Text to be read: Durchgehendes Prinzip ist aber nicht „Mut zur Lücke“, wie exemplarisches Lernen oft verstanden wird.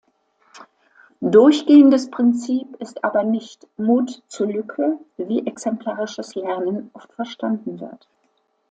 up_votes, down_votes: 2, 0